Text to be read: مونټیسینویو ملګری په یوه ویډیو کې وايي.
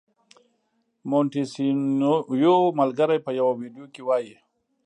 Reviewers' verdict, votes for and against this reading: accepted, 2, 0